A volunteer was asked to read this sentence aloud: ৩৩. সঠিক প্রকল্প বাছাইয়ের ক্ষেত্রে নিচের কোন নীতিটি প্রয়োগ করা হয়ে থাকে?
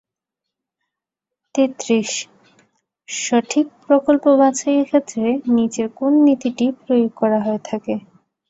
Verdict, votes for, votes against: rejected, 0, 2